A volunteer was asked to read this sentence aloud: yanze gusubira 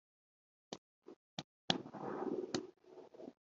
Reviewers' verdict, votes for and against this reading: rejected, 0, 3